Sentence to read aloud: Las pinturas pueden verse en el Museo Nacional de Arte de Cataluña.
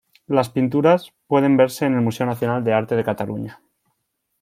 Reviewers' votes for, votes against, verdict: 2, 0, accepted